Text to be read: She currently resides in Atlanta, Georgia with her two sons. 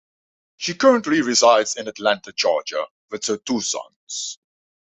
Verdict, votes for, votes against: accepted, 2, 0